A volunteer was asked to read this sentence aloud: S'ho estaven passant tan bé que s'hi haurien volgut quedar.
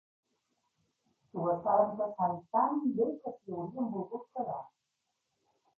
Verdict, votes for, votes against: accepted, 2, 0